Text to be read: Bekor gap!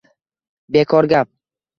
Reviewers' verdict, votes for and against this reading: accepted, 2, 0